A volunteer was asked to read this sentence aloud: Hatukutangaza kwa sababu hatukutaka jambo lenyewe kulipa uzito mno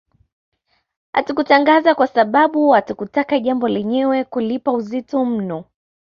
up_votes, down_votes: 0, 2